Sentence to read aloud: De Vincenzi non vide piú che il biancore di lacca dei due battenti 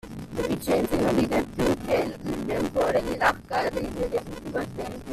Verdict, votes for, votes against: rejected, 0, 2